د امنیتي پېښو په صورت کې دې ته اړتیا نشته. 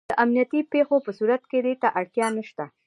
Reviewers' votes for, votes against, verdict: 2, 1, accepted